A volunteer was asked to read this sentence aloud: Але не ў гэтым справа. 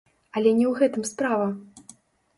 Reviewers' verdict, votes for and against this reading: rejected, 1, 2